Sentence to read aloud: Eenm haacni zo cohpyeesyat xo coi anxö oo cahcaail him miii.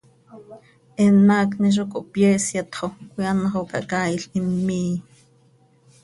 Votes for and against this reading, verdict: 2, 0, accepted